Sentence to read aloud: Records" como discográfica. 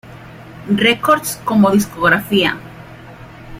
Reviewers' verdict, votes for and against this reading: rejected, 0, 2